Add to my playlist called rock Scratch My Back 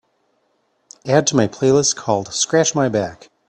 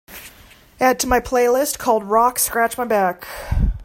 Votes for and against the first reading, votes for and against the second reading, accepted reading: 0, 3, 3, 0, second